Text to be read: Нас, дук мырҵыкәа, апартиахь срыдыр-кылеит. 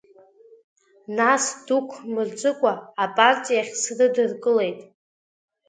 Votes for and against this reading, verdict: 2, 1, accepted